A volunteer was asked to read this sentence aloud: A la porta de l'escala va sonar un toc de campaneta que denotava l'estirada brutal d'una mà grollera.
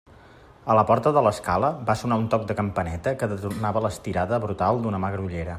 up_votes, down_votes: 0, 2